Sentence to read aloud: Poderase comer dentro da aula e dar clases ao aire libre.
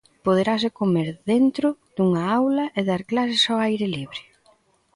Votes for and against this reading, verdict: 0, 2, rejected